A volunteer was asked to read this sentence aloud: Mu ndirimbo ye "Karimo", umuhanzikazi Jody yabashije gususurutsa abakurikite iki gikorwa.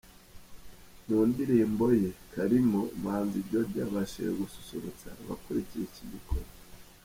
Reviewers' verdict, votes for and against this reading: rejected, 0, 2